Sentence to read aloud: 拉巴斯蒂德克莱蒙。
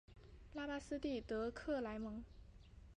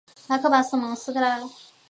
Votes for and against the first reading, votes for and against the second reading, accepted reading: 2, 0, 0, 3, first